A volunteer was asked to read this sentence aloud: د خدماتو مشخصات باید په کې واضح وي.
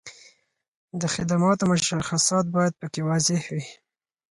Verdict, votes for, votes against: accepted, 4, 0